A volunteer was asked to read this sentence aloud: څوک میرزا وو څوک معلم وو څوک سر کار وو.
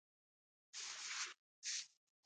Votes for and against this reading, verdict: 0, 2, rejected